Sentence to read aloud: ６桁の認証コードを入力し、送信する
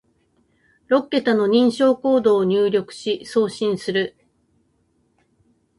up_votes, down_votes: 0, 2